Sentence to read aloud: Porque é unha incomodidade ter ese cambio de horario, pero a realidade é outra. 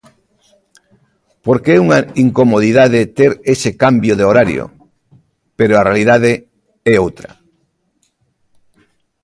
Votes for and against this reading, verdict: 2, 0, accepted